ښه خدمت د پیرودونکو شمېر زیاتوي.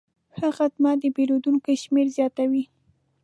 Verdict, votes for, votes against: accepted, 2, 0